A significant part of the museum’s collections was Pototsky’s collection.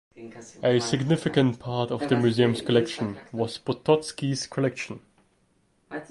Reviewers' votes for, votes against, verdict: 1, 2, rejected